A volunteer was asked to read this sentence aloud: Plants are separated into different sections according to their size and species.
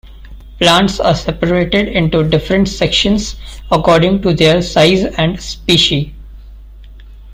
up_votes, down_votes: 1, 2